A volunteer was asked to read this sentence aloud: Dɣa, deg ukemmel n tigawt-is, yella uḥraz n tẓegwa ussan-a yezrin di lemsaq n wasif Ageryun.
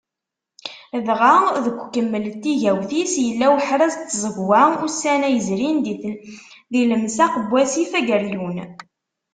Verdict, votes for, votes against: rejected, 0, 2